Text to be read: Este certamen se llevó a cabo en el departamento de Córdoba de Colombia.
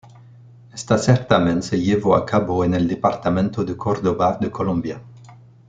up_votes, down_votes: 2, 0